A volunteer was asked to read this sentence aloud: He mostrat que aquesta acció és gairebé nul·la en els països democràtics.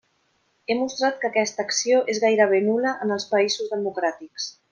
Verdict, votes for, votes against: accepted, 2, 0